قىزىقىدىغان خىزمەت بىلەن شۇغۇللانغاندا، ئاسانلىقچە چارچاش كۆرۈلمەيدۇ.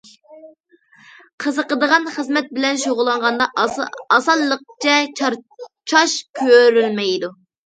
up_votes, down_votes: 0, 2